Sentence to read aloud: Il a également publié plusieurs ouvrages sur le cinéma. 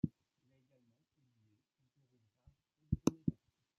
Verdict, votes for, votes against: rejected, 1, 2